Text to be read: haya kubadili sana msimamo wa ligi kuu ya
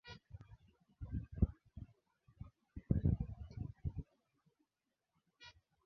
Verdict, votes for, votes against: rejected, 0, 7